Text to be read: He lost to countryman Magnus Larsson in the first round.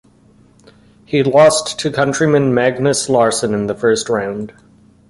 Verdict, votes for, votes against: accepted, 2, 0